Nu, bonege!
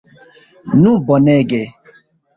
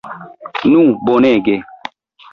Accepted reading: second